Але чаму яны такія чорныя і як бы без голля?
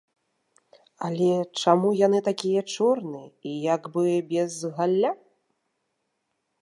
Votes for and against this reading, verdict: 0, 2, rejected